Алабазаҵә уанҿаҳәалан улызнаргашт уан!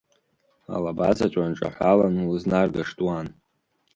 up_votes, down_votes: 2, 0